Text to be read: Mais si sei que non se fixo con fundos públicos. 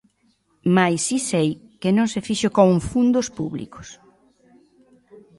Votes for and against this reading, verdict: 2, 0, accepted